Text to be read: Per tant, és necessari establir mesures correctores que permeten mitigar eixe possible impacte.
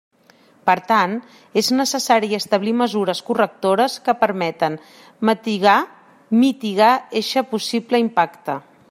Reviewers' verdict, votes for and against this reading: rejected, 0, 2